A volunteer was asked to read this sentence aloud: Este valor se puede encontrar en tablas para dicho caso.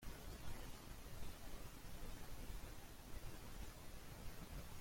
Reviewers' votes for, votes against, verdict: 1, 2, rejected